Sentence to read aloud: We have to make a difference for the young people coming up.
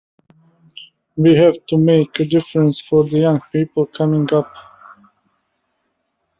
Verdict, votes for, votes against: accepted, 2, 0